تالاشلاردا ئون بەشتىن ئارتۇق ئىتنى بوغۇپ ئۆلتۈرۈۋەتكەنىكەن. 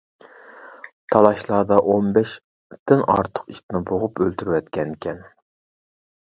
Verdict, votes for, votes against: rejected, 0, 2